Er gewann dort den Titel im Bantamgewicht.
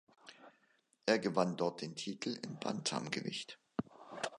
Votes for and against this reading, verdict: 2, 0, accepted